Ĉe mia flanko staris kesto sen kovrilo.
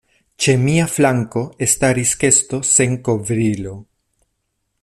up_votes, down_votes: 1, 2